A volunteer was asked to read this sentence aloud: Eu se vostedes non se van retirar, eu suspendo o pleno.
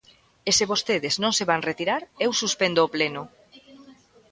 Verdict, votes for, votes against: rejected, 0, 2